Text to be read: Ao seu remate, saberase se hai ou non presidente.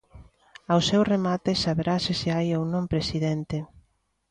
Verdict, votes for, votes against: accepted, 2, 0